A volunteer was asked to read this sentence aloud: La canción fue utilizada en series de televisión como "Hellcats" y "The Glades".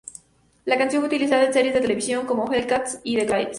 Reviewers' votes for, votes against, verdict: 2, 0, accepted